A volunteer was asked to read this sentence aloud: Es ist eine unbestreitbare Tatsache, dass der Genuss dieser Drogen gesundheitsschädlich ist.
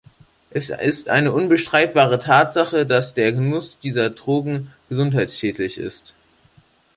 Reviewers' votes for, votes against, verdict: 2, 0, accepted